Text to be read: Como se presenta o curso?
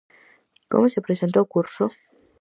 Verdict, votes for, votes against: accepted, 4, 0